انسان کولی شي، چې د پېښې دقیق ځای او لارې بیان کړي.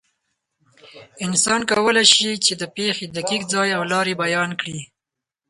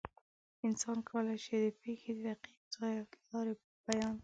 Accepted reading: first